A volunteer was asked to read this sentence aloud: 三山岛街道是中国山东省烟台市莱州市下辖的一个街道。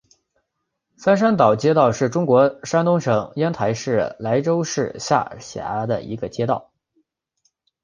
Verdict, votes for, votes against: accepted, 4, 1